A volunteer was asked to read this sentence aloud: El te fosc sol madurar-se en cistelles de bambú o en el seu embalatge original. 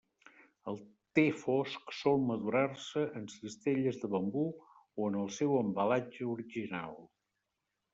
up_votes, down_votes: 2, 1